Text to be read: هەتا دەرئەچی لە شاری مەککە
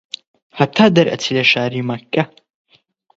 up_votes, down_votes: 20, 0